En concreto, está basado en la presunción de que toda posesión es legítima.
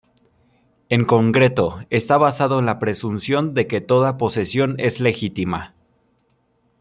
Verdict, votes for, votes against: rejected, 1, 2